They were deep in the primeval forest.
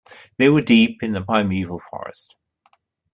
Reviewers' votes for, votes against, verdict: 2, 0, accepted